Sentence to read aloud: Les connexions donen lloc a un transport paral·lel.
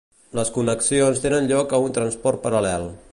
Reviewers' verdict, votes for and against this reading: rejected, 1, 2